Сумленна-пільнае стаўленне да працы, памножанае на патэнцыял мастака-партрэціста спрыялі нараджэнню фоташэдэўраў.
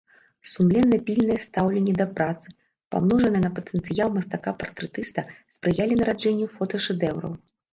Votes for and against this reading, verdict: 0, 2, rejected